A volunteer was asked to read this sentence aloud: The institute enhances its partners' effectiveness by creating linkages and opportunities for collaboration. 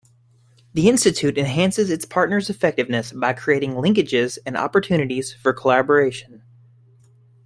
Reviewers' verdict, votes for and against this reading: accepted, 2, 0